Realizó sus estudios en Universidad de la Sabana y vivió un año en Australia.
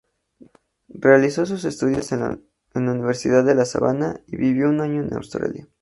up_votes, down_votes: 0, 2